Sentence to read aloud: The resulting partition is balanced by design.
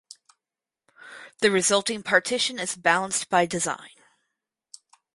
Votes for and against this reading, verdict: 2, 0, accepted